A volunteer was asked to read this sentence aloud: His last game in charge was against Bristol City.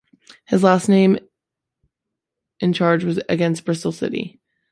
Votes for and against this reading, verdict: 1, 3, rejected